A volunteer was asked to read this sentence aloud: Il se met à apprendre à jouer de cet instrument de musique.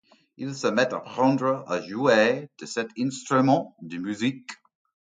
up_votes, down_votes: 1, 2